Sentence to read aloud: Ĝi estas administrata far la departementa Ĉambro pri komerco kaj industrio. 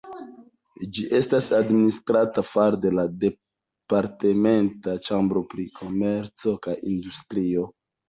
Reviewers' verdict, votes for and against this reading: rejected, 0, 2